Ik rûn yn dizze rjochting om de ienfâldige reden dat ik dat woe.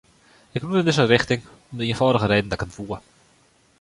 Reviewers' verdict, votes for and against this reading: rejected, 0, 2